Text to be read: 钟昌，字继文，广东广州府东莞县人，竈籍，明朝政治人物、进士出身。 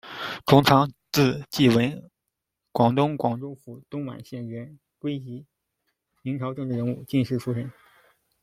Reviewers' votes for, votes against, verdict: 1, 2, rejected